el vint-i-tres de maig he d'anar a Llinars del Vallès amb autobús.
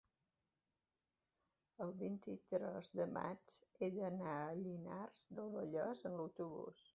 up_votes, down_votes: 1, 2